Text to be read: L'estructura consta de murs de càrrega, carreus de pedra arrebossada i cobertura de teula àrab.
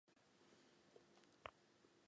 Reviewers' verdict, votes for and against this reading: rejected, 0, 3